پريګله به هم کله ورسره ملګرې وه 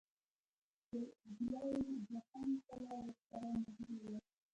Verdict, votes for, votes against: rejected, 1, 3